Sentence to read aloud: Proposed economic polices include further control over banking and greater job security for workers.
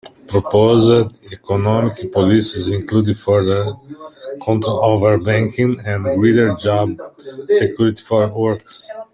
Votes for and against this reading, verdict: 1, 2, rejected